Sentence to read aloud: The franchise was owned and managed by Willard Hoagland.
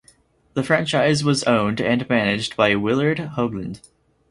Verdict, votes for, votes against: accepted, 4, 0